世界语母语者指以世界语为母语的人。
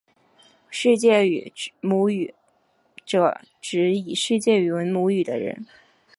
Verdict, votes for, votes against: rejected, 1, 3